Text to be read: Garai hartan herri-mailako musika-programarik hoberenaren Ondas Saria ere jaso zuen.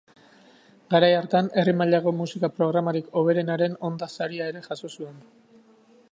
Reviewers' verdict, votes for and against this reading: accepted, 2, 0